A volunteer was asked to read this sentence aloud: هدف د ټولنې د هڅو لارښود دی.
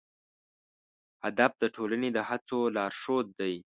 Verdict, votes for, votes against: accepted, 2, 0